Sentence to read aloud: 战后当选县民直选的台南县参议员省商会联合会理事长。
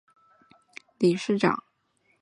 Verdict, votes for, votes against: accepted, 2, 1